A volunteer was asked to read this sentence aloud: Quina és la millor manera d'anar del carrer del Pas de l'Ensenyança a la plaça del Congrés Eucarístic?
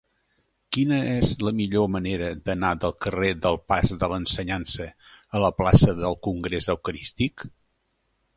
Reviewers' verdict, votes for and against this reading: accepted, 3, 0